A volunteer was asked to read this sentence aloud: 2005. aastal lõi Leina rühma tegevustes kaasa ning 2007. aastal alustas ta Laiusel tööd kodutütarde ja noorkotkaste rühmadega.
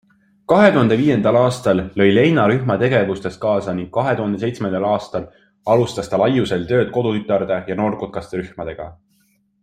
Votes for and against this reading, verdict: 0, 2, rejected